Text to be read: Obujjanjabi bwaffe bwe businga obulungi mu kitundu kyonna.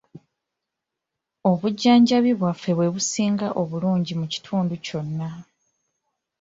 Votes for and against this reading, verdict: 2, 0, accepted